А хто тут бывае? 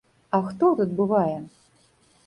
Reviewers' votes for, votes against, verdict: 1, 2, rejected